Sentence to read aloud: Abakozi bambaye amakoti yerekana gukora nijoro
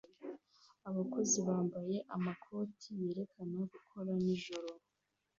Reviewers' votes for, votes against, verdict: 2, 1, accepted